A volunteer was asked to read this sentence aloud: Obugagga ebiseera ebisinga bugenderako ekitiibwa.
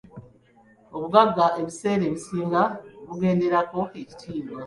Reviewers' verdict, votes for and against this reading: accepted, 2, 0